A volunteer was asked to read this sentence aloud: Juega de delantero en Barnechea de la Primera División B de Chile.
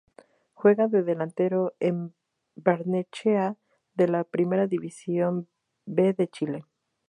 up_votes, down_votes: 2, 0